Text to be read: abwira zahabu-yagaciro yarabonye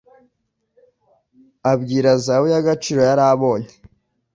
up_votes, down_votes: 2, 1